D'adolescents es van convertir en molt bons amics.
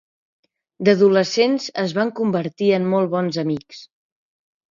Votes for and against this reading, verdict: 4, 0, accepted